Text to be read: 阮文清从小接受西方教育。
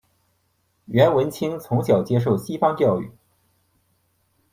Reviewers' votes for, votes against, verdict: 0, 2, rejected